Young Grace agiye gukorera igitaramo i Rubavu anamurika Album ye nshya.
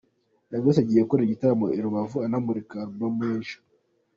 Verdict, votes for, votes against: accepted, 2, 0